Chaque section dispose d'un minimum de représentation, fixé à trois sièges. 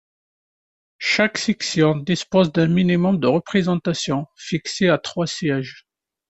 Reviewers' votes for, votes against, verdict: 2, 0, accepted